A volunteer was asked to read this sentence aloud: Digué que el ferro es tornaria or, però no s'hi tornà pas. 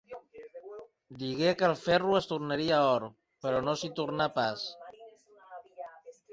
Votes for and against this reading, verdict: 4, 0, accepted